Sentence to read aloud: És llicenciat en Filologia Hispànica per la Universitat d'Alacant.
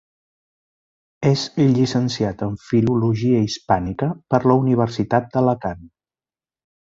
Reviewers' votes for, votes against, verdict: 2, 1, accepted